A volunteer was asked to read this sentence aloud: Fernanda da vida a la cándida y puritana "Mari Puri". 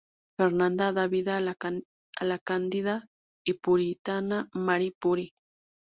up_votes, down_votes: 0, 2